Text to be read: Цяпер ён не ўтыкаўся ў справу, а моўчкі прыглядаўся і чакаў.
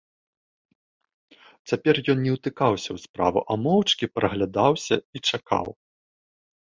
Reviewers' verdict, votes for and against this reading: rejected, 0, 2